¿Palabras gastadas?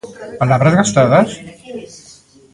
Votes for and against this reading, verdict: 0, 2, rejected